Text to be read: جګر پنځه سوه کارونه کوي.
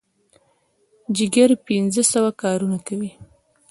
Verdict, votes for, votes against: accepted, 2, 1